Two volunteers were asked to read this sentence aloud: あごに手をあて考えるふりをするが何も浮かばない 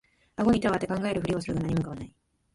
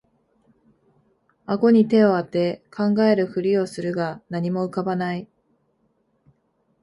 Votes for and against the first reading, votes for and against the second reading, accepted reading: 0, 2, 2, 0, second